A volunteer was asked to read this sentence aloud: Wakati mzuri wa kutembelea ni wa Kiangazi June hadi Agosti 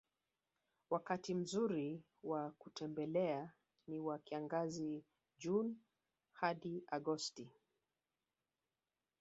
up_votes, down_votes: 1, 2